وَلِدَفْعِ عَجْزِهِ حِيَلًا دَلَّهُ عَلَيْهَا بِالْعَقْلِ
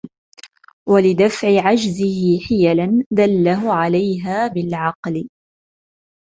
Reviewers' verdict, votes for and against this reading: accepted, 2, 0